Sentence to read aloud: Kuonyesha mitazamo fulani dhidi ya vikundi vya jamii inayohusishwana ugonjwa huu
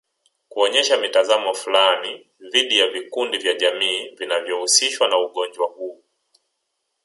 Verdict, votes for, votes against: rejected, 1, 2